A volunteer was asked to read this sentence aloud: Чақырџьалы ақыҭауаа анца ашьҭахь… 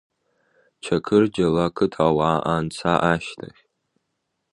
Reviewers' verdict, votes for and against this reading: accepted, 2, 0